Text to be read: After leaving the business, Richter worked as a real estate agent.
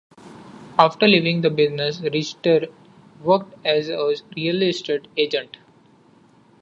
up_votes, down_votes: 2, 1